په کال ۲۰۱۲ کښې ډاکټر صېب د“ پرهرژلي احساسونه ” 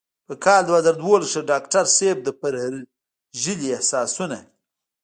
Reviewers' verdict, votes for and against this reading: rejected, 0, 2